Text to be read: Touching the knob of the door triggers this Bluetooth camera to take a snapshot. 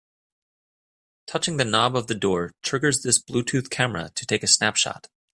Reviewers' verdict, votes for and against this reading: accepted, 2, 0